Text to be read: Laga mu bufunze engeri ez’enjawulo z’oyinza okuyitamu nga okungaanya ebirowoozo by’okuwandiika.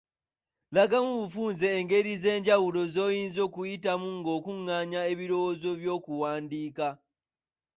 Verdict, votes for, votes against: rejected, 1, 2